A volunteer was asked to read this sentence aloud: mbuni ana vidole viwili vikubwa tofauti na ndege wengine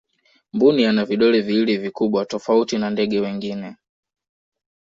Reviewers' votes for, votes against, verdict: 2, 0, accepted